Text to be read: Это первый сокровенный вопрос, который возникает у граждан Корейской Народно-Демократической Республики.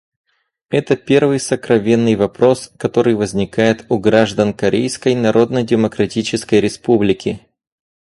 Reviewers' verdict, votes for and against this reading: rejected, 2, 2